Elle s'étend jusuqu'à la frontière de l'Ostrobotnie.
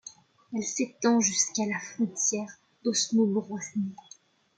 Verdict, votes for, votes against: rejected, 0, 2